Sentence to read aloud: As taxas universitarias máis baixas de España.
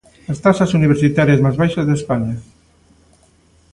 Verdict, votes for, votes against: accepted, 2, 0